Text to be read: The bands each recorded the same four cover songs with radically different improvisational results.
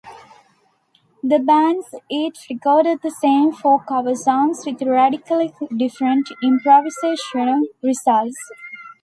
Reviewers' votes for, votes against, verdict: 2, 0, accepted